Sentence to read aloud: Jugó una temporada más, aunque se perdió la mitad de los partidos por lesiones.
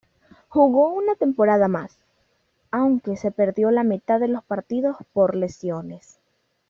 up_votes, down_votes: 2, 0